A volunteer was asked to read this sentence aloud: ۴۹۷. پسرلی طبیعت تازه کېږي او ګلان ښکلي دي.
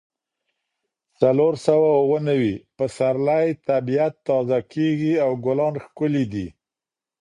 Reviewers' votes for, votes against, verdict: 0, 2, rejected